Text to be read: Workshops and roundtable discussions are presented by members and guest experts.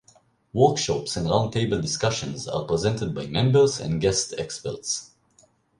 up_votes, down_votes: 2, 0